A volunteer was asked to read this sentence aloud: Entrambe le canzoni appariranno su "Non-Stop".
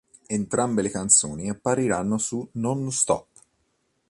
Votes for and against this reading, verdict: 2, 0, accepted